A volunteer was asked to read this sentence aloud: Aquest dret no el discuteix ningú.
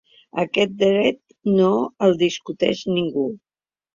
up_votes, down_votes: 4, 0